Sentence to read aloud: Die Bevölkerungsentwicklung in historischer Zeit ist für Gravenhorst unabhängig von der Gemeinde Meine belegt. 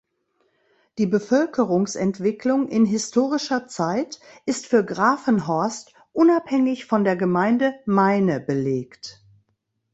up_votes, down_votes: 2, 0